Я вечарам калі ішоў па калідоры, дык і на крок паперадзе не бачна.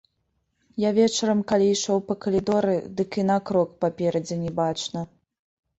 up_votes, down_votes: 2, 0